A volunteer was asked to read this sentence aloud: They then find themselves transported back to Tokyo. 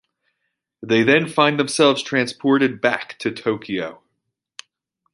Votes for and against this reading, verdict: 2, 1, accepted